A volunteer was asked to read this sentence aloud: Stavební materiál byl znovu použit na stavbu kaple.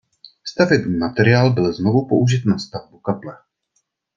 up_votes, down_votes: 2, 0